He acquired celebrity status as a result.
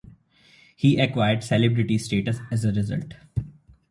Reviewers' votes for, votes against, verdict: 0, 2, rejected